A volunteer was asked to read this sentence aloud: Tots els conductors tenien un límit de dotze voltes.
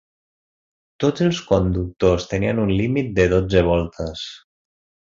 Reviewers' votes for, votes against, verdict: 3, 0, accepted